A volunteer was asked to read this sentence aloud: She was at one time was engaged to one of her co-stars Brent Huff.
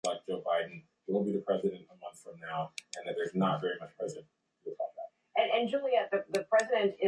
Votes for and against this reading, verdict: 0, 2, rejected